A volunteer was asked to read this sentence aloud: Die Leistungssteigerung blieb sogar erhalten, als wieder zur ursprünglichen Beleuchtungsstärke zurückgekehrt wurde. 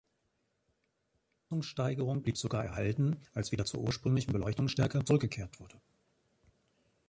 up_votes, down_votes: 1, 2